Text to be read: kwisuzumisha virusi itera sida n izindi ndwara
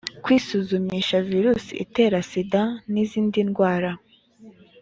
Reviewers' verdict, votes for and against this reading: accepted, 2, 0